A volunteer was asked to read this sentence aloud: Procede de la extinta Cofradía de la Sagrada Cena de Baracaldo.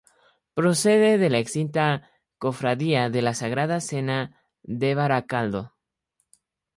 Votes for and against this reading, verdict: 4, 0, accepted